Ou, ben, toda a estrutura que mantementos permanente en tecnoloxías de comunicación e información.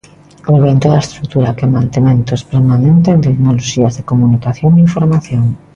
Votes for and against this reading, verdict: 2, 0, accepted